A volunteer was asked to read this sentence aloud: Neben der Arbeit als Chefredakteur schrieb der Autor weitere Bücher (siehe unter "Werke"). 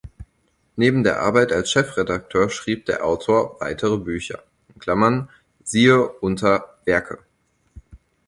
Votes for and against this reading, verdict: 0, 4, rejected